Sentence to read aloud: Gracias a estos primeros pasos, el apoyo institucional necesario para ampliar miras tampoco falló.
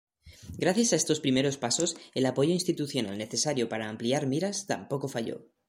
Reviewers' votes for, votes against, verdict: 2, 0, accepted